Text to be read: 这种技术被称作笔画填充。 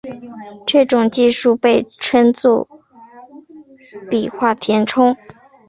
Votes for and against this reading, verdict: 2, 0, accepted